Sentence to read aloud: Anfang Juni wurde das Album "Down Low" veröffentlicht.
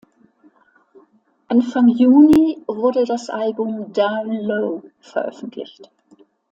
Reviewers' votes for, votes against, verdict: 1, 2, rejected